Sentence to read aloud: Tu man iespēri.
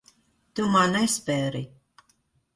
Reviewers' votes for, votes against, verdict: 1, 3, rejected